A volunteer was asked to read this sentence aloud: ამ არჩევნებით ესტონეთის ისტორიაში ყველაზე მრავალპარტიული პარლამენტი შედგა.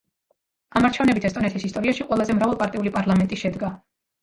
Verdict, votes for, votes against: rejected, 1, 2